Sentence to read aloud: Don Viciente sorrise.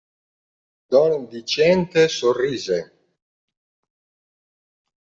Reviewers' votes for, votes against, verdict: 2, 0, accepted